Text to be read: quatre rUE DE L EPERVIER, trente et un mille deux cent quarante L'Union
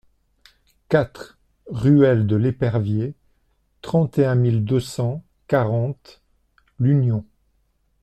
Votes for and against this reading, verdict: 0, 2, rejected